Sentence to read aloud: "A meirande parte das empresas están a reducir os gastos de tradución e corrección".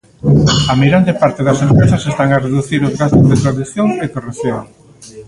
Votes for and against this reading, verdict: 0, 2, rejected